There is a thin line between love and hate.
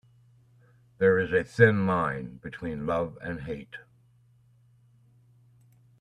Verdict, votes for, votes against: accepted, 2, 1